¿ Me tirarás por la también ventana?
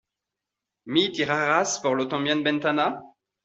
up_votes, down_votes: 0, 2